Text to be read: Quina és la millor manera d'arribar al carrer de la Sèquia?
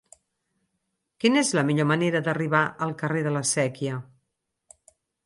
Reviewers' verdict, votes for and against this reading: accepted, 4, 0